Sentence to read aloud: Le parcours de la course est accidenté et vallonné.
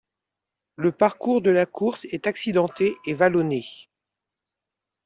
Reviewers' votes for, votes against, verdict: 2, 0, accepted